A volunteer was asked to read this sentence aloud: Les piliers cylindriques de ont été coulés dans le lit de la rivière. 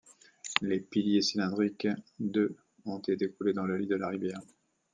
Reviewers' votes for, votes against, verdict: 0, 2, rejected